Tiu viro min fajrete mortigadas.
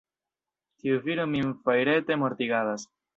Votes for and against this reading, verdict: 1, 2, rejected